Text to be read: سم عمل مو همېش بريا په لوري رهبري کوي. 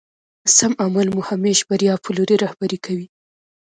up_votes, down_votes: 2, 0